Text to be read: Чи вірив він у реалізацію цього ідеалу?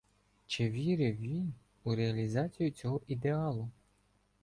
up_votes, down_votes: 2, 0